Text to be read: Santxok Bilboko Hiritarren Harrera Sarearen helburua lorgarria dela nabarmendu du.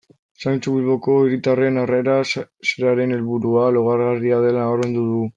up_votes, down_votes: 0, 2